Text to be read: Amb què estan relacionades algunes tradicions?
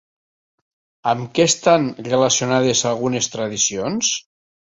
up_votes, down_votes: 3, 0